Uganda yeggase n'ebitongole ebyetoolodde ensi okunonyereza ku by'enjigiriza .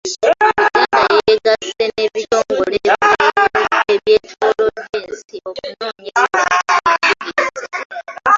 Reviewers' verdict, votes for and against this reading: rejected, 0, 2